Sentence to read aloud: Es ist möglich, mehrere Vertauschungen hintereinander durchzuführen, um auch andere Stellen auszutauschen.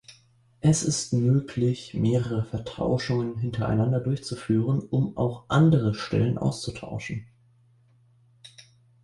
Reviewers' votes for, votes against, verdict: 0, 2, rejected